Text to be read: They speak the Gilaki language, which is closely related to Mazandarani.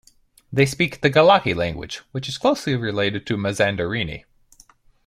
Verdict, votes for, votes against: accepted, 2, 0